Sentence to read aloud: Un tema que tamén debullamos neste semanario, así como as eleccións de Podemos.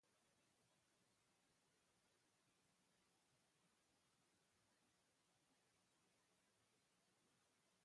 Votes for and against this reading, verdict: 0, 2, rejected